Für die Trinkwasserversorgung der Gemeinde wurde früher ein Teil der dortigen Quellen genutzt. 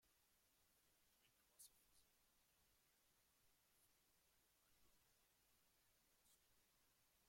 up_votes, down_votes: 0, 2